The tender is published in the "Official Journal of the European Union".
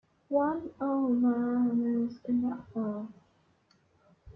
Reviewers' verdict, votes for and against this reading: rejected, 0, 4